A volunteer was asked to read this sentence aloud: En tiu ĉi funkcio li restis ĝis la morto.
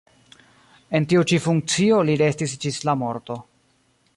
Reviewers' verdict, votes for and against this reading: accepted, 2, 1